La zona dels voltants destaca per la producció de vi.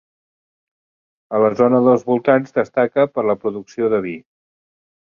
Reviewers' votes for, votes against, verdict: 0, 3, rejected